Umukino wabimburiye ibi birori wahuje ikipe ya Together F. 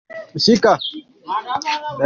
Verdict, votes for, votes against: rejected, 0, 2